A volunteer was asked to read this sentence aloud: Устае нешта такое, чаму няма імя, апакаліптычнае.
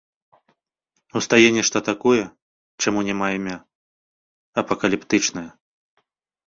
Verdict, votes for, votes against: accepted, 2, 0